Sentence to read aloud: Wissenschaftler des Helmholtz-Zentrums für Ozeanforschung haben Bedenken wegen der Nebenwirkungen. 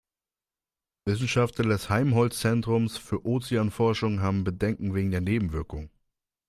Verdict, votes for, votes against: rejected, 0, 2